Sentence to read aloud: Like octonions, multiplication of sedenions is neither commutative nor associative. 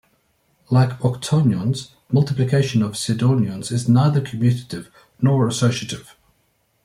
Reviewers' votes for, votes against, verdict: 3, 0, accepted